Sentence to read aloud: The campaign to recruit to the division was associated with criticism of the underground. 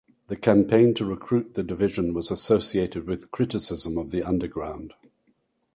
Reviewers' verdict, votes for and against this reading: rejected, 2, 2